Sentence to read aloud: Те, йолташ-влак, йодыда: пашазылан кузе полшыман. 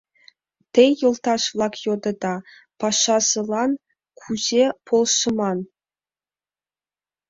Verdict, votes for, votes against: accepted, 2, 0